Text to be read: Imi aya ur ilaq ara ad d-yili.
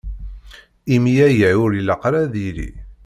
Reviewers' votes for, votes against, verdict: 2, 0, accepted